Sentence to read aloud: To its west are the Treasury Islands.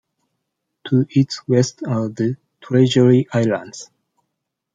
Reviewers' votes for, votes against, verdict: 2, 0, accepted